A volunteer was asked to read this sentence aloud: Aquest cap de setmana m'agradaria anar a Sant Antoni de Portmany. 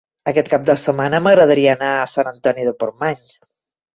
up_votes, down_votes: 3, 0